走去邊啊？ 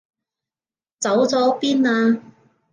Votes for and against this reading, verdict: 0, 2, rejected